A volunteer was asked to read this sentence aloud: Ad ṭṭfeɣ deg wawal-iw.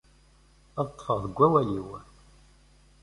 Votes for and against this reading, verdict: 2, 0, accepted